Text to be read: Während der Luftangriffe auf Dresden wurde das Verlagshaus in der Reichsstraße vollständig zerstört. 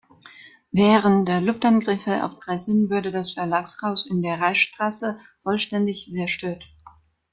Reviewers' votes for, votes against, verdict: 1, 2, rejected